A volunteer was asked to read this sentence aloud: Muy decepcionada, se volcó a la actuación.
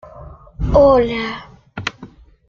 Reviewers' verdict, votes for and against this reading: rejected, 0, 2